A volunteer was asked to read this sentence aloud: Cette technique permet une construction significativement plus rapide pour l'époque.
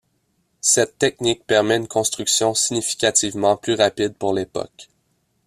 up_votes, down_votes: 2, 0